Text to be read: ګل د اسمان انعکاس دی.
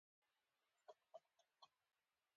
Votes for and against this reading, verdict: 0, 3, rejected